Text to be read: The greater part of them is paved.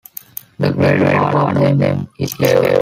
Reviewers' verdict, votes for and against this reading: rejected, 0, 2